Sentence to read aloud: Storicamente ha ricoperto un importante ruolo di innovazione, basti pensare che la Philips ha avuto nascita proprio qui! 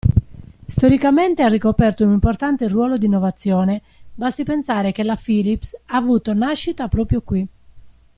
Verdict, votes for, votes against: accepted, 2, 1